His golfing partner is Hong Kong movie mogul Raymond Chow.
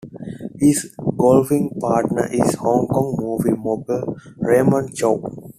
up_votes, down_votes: 2, 1